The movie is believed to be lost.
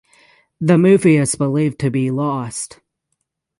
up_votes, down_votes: 6, 0